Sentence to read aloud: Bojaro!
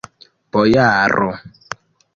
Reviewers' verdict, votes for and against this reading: rejected, 0, 2